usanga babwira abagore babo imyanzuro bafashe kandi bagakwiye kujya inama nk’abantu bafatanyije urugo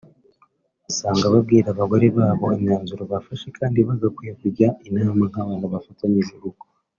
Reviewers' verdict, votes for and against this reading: accepted, 2, 0